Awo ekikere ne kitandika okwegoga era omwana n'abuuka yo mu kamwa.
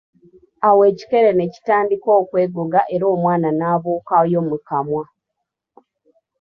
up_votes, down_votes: 2, 1